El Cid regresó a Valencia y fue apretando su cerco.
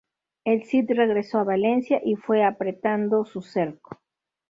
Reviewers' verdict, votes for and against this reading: accepted, 2, 0